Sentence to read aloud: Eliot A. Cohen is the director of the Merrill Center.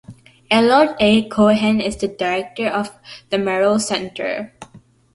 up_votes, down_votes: 2, 1